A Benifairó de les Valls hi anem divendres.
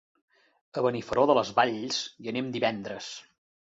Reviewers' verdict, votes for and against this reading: rejected, 1, 2